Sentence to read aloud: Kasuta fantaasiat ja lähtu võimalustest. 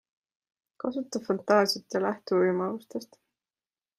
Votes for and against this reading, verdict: 2, 0, accepted